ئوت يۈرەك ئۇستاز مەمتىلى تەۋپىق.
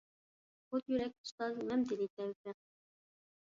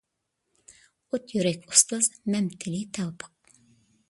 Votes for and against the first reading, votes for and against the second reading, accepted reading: 1, 2, 2, 1, second